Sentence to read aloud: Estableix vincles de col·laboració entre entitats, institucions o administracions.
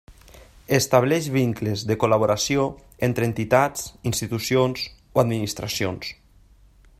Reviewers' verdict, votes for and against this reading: accepted, 3, 0